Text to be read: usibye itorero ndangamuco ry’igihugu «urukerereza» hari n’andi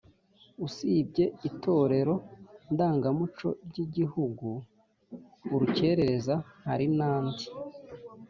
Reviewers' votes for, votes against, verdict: 2, 0, accepted